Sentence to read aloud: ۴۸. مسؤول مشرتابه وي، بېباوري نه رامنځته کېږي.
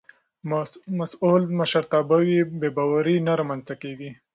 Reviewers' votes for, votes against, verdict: 0, 2, rejected